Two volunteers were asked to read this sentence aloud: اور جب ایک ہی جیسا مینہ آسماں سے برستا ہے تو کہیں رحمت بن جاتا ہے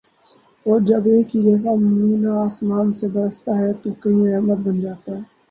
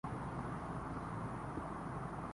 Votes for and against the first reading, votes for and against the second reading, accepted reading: 22, 4, 2, 8, first